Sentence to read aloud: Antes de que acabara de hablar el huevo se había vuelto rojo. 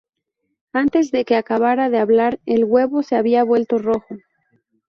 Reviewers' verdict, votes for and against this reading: rejected, 0, 2